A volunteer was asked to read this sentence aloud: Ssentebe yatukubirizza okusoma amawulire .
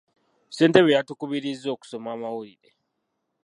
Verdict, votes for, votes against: accepted, 2, 0